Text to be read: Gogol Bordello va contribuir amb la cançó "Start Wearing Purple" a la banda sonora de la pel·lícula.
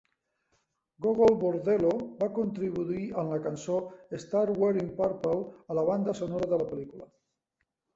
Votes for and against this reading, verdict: 1, 2, rejected